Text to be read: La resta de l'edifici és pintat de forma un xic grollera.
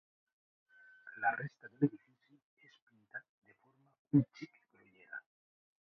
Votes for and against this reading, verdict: 0, 2, rejected